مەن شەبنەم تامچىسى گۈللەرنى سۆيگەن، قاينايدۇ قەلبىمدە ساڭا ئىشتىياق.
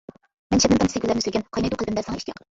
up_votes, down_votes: 0, 2